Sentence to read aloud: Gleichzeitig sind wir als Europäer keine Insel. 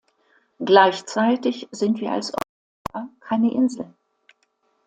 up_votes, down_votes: 1, 2